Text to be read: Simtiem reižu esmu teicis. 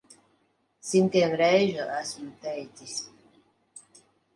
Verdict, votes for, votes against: accepted, 2, 0